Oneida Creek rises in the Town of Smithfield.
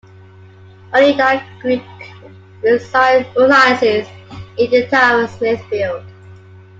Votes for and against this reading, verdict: 0, 2, rejected